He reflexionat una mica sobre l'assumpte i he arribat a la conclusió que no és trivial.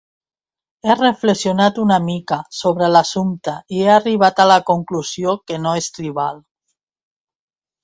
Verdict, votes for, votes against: rejected, 1, 2